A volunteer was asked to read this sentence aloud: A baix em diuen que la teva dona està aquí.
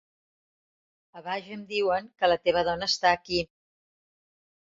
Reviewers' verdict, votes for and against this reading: accepted, 2, 0